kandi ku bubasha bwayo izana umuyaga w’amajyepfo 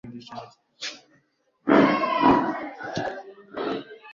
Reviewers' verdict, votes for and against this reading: rejected, 0, 2